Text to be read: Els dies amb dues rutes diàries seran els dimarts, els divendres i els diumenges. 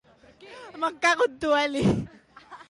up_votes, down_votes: 0, 2